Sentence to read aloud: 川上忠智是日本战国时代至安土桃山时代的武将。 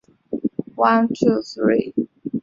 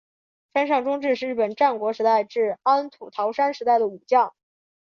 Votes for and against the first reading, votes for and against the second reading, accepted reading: 0, 2, 4, 0, second